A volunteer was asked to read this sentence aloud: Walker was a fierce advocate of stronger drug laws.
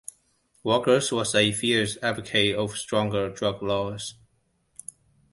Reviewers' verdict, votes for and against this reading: rejected, 1, 2